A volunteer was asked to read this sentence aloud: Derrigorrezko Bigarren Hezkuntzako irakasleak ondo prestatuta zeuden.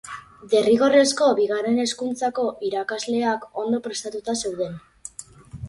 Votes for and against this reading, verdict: 4, 0, accepted